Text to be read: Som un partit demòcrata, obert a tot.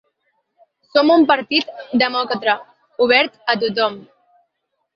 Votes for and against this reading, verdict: 2, 0, accepted